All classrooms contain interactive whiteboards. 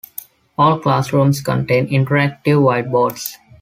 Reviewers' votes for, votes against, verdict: 3, 0, accepted